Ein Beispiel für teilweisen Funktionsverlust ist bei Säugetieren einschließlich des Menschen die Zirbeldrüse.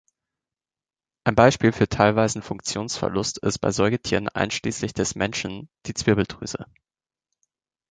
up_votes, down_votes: 0, 2